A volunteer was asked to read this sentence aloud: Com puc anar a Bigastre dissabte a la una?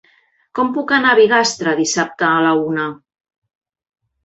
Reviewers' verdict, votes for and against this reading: accepted, 3, 0